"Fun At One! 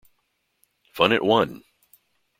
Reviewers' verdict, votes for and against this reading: accepted, 2, 0